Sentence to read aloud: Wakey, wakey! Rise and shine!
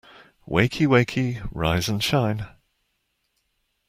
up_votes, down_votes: 2, 0